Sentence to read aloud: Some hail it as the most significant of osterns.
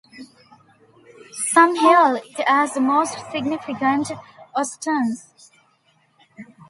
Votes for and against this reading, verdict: 0, 2, rejected